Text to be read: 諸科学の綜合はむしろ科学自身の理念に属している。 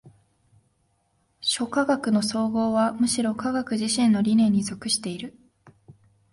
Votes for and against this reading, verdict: 2, 0, accepted